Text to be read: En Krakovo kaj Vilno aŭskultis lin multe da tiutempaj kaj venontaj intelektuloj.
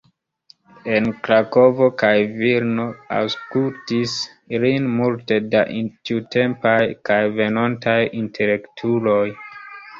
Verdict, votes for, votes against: rejected, 1, 2